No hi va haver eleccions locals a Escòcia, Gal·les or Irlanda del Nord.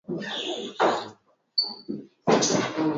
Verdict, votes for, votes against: rejected, 0, 2